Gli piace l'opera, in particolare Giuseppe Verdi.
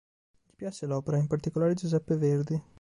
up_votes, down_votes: 1, 3